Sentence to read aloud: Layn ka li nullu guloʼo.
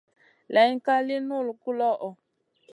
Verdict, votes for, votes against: accepted, 4, 0